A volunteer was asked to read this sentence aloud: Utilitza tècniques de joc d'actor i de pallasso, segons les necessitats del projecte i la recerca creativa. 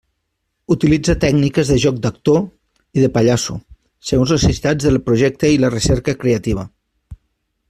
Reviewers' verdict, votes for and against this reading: rejected, 0, 2